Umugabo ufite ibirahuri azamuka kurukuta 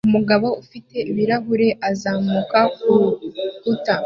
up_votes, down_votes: 2, 0